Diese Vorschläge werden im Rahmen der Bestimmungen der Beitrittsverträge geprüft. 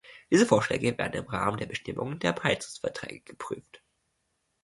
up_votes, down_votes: 1, 2